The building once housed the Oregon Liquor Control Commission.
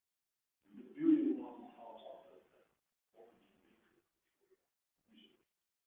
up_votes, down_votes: 0, 2